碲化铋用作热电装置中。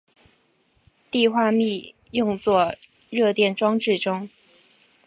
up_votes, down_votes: 3, 0